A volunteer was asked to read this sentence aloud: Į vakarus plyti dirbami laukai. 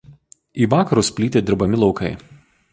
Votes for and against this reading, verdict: 2, 0, accepted